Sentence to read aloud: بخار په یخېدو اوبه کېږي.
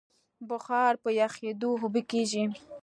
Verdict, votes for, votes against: accepted, 2, 0